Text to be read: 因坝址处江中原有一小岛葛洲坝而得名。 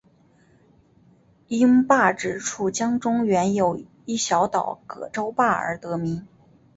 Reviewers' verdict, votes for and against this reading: accepted, 3, 0